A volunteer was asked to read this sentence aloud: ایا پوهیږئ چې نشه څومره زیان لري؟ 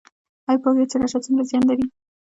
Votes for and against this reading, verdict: 1, 2, rejected